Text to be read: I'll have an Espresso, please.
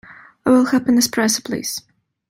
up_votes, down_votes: 1, 2